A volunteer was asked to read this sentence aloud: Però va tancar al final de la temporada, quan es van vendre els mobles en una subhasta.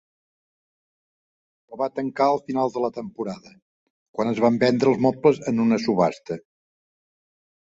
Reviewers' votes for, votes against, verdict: 0, 2, rejected